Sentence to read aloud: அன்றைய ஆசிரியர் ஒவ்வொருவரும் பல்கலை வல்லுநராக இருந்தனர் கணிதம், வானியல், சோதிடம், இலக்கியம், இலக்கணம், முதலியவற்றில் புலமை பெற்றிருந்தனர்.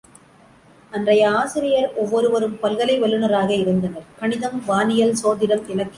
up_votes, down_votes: 0, 2